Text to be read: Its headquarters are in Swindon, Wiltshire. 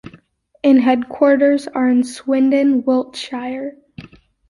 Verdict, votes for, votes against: rejected, 0, 2